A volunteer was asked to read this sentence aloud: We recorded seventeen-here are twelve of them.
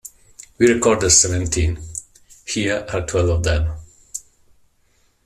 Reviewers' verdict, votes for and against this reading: accepted, 2, 0